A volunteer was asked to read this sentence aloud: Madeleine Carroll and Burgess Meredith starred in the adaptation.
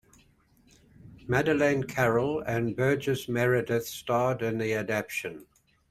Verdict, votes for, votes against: rejected, 0, 3